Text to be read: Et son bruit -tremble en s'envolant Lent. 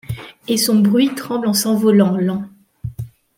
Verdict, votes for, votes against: accepted, 2, 0